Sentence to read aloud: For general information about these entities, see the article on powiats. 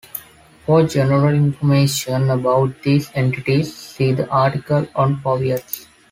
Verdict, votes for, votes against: accepted, 2, 0